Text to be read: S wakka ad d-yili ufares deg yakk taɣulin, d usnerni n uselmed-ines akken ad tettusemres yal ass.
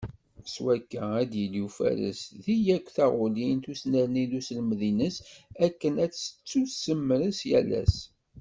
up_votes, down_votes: 1, 2